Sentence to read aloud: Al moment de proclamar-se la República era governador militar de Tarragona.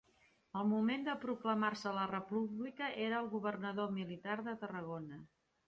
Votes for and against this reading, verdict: 1, 2, rejected